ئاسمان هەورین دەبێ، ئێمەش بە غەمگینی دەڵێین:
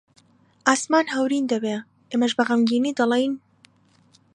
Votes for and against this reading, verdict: 2, 0, accepted